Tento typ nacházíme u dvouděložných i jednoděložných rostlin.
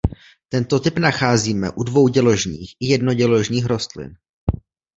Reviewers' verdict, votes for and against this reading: accepted, 2, 0